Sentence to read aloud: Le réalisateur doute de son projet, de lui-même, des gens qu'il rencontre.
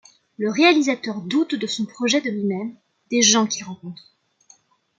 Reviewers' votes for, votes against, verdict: 2, 0, accepted